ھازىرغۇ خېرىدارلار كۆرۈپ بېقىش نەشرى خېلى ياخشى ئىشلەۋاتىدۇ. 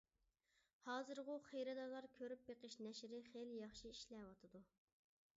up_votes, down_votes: 2, 0